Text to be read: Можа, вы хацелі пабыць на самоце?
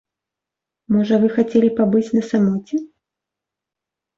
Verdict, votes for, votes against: accepted, 2, 0